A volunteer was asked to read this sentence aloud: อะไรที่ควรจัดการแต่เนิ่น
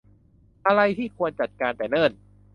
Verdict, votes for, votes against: accepted, 2, 0